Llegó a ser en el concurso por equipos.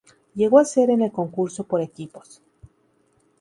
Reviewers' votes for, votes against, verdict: 2, 0, accepted